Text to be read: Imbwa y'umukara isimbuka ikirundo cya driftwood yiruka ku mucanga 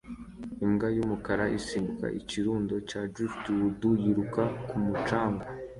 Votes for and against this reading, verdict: 2, 0, accepted